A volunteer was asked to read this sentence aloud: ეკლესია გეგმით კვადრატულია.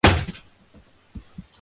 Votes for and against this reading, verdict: 2, 1, accepted